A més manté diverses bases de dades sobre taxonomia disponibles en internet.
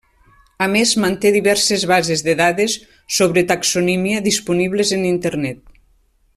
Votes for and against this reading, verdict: 0, 2, rejected